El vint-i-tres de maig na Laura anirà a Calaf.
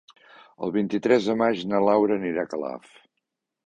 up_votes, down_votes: 2, 0